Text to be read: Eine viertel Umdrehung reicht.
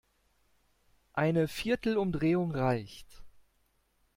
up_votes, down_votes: 2, 0